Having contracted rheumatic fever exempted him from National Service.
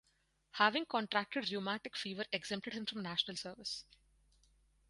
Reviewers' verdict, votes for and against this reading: rejected, 0, 2